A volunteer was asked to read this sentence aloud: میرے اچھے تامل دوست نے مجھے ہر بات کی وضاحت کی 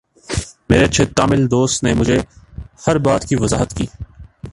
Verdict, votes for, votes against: accepted, 3, 0